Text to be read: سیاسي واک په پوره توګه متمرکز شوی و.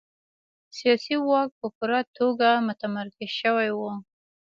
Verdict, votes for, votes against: accepted, 2, 0